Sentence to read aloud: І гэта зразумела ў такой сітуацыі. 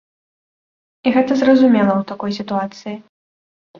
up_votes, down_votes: 2, 0